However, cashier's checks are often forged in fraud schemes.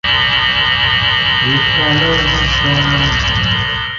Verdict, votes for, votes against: rejected, 0, 2